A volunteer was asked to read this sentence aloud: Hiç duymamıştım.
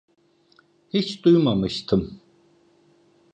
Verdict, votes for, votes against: accepted, 2, 0